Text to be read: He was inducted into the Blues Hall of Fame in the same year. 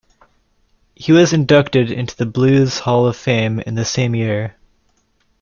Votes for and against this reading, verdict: 2, 0, accepted